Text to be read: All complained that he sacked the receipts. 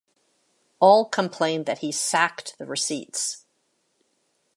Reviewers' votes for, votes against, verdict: 2, 0, accepted